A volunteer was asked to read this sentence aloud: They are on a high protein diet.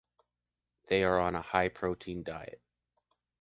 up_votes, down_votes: 2, 0